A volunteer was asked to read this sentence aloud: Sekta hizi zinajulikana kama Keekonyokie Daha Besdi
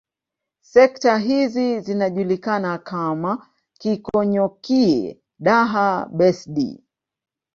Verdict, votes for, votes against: accepted, 2, 0